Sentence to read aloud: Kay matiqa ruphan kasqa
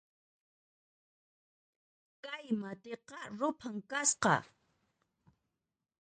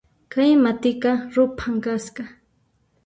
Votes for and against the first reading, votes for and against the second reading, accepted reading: 2, 0, 1, 2, first